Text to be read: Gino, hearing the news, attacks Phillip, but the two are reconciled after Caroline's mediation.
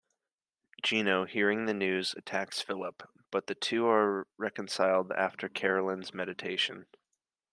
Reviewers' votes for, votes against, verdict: 0, 3, rejected